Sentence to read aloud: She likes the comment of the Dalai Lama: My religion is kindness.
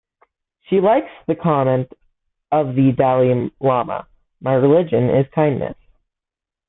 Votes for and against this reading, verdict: 2, 3, rejected